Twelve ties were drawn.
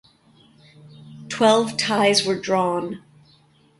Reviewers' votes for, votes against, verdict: 2, 0, accepted